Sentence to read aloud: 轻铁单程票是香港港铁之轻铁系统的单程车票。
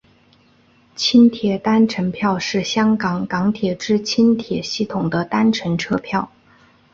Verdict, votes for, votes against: accepted, 9, 0